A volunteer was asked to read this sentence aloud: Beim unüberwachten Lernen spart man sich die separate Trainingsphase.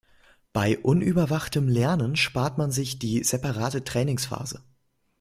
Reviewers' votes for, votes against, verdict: 1, 2, rejected